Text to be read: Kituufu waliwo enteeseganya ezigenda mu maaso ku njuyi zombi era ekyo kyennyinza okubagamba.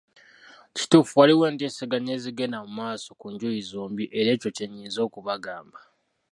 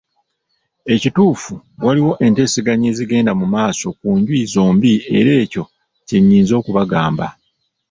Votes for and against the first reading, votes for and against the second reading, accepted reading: 2, 0, 0, 2, first